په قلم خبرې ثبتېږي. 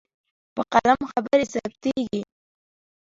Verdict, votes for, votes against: accepted, 3, 0